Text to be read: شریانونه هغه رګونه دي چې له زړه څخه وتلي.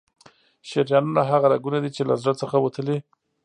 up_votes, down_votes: 3, 0